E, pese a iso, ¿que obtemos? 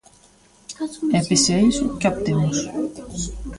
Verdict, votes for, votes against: rejected, 0, 2